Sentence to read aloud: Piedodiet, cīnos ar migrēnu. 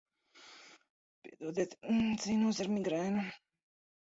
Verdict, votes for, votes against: rejected, 1, 2